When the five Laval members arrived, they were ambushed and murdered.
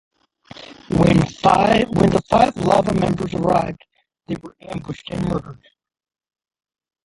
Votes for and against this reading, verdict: 0, 2, rejected